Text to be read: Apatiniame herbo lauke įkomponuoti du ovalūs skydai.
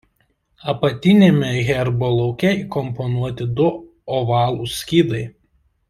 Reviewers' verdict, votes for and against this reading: accepted, 2, 0